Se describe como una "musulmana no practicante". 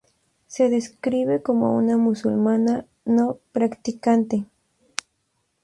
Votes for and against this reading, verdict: 2, 0, accepted